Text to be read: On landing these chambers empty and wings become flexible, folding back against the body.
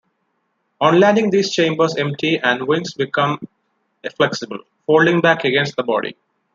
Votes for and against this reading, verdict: 1, 2, rejected